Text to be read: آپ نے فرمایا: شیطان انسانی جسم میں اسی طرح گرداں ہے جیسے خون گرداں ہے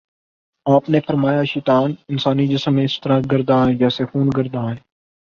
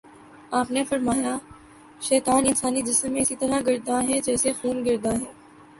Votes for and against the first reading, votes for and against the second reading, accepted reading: 2, 3, 3, 0, second